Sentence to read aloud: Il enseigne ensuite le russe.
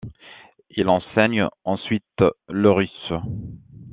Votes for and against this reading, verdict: 2, 0, accepted